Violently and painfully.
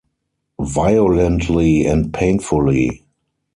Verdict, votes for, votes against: rejected, 0, 4